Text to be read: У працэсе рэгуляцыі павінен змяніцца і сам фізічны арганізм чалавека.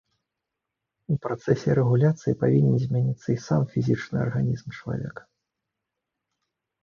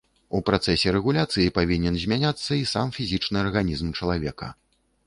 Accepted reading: first